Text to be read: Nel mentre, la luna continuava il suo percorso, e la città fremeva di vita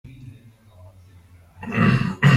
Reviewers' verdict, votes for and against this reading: rejected, 0, 2